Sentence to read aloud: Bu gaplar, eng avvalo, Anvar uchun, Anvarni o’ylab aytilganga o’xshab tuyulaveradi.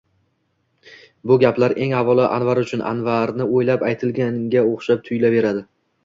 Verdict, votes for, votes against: rejected, 1, 2